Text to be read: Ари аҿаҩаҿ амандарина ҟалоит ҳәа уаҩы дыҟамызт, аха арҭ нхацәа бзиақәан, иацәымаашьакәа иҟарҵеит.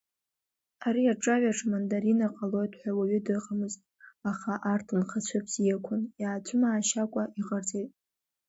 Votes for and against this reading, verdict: 2, 1, accepted